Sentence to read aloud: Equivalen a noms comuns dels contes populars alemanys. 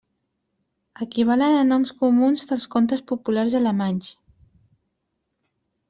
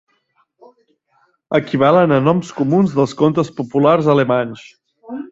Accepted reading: first